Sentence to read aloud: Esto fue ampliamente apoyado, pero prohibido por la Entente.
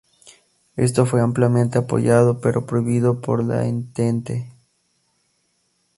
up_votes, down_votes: 2, 2